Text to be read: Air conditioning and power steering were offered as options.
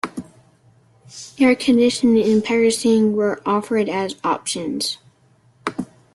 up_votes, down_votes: 2, 0